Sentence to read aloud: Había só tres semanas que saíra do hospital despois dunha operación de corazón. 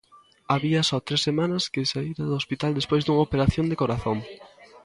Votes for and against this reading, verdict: 0, 2, rejected